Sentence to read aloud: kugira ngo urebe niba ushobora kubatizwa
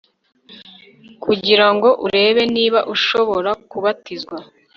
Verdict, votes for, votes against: rejected, 0, 2